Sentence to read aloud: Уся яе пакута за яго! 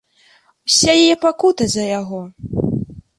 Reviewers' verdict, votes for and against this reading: accepted, 2, 0